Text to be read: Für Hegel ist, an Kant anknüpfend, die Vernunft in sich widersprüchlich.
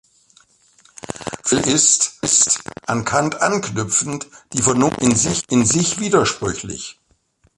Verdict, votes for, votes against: rejected, 0, 2